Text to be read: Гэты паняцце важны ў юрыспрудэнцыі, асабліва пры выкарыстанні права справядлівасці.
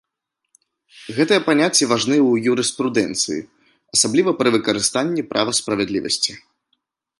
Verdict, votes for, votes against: rejected, 0, 2